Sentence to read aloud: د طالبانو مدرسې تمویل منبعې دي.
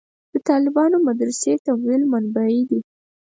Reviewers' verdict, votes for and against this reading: accepted, 4, 0